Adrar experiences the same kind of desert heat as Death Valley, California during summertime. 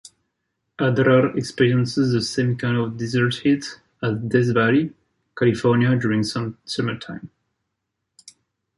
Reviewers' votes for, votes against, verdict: 2, 1, accepted